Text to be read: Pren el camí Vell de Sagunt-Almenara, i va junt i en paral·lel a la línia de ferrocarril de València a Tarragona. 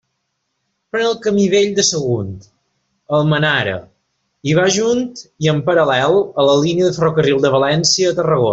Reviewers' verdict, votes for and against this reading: accepted, 2, 0